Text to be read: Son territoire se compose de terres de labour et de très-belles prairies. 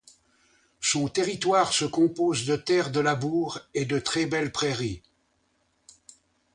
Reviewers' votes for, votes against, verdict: 2, 0, accepted